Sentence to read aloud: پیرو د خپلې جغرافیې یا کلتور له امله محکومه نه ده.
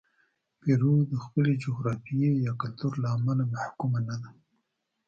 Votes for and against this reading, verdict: 1, 2, rejected